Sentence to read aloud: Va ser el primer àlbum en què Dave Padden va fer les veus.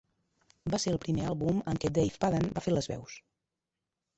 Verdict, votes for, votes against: rejected, 0, 2